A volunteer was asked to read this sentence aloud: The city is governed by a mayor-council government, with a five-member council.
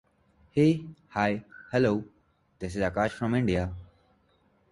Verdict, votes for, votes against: rejected, 0, 2